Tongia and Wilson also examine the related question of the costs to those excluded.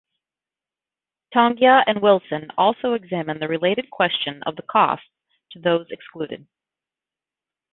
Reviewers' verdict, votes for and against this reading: accepted, 2, 0